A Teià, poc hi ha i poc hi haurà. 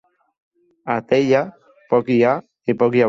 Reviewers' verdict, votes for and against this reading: rejected, 0, 4